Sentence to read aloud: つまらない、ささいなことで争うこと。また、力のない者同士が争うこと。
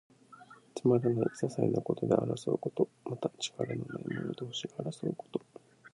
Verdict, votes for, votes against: accepted, 2, 0